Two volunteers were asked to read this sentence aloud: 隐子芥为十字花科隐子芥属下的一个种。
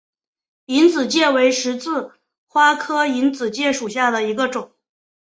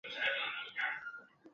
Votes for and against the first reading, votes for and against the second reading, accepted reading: 3, 0, 0, 2, first